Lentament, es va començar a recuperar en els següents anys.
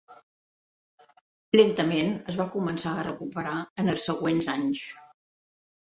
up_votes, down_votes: 3, 0